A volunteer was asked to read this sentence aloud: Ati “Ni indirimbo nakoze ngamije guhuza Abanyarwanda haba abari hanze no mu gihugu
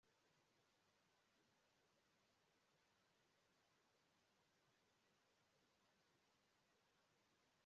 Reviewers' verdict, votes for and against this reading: rejected, 1, 3